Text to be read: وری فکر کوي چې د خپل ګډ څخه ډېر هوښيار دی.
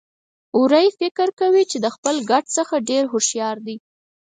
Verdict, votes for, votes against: accepted, 4, 0